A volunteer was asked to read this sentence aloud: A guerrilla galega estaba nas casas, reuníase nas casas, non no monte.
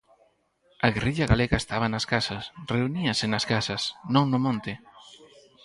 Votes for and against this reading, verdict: 4, 0, accepted